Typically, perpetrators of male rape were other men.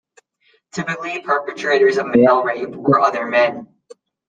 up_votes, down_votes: 2, 0